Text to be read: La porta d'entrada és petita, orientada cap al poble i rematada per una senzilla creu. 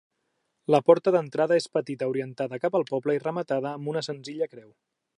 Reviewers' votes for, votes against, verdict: 1, 2, rejected